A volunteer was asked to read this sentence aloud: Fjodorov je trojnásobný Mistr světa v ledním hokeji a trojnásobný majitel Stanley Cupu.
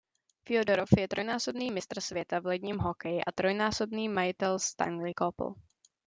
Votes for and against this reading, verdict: 2, 1, accepted